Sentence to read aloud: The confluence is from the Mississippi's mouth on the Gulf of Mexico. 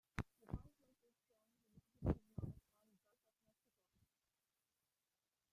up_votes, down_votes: 0, 2